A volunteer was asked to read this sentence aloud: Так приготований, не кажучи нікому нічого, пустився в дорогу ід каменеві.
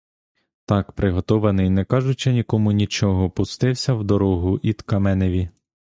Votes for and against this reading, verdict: 1, 2, rejected